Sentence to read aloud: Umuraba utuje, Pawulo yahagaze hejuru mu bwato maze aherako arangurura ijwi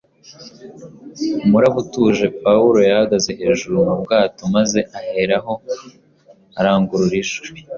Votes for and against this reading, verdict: 2, 0, accepted